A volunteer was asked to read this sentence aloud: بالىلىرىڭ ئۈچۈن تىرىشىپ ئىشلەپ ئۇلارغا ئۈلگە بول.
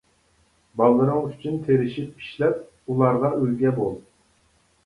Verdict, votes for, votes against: accepted, 2, 0